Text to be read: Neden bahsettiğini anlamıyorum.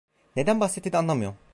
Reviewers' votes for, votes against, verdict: 0, 2, rejected